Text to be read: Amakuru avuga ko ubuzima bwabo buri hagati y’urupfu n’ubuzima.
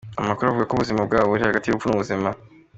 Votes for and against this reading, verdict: 2, 0, accepted